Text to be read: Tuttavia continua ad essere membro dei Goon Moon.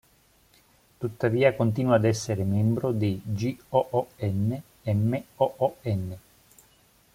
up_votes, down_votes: 0, 2